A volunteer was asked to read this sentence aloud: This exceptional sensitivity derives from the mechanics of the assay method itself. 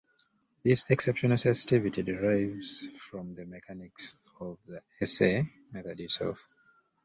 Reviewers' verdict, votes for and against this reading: rejected, 1, 2